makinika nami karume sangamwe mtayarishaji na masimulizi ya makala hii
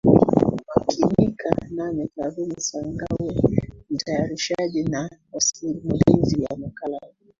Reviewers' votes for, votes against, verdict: 1, 2, rejected